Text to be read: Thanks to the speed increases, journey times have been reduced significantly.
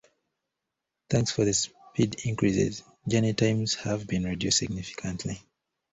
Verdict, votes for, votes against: rejected, 0, 2